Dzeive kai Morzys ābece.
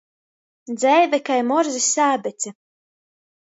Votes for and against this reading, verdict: 2, 0, accepted